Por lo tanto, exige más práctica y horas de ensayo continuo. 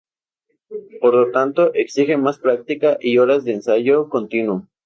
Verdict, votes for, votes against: accepted, 2, 0